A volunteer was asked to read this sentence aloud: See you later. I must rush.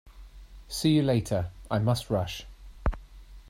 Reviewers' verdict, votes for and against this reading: accepted, 3, 0